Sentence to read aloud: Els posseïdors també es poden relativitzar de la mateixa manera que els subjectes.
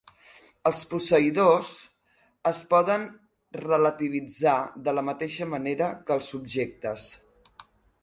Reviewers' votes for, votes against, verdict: 1, 2, rejected